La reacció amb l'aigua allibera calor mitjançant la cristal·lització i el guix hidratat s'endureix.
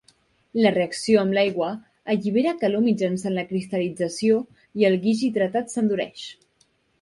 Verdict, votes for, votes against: accepted, 2, 0